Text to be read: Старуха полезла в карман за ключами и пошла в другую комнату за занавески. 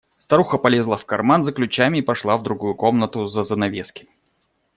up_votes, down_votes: 2, 0